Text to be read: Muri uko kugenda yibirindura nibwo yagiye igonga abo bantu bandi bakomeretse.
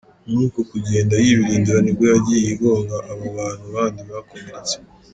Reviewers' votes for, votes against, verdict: 2, 0, accepted